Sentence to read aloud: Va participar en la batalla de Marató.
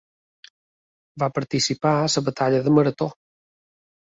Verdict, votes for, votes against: accepted, 2, 1